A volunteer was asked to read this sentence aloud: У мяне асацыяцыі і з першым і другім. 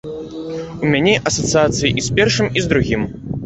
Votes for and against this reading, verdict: 0, 2, rejected